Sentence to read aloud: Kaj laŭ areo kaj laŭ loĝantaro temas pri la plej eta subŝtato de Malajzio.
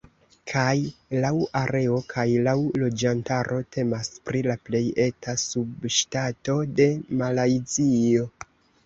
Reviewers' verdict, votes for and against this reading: accepted, 2, 0